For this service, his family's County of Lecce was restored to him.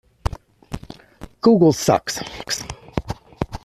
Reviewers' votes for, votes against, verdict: 1, 2, rejected